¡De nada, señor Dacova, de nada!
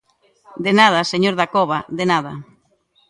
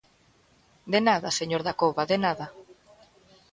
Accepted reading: first